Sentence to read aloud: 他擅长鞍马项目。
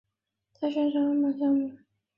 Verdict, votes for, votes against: rejected, 3, 4